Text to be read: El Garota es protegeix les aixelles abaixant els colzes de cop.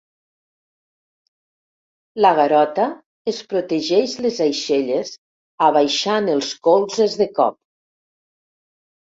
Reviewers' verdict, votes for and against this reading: rejected, 0, 2